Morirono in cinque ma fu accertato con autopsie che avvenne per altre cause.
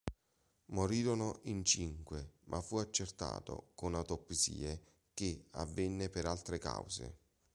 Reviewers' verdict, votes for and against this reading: accepted, 2, 0